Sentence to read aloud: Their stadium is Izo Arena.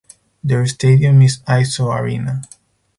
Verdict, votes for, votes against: accepted, 4, 0